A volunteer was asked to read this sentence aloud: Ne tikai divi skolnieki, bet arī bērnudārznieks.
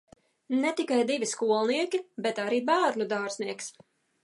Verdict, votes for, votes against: accepted, 2, 0